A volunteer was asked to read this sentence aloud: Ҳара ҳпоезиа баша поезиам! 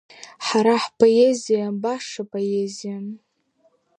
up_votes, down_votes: 3, 0